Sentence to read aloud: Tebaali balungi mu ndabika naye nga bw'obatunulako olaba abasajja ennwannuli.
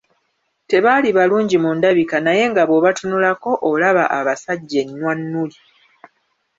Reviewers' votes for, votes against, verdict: 1, 2, rejected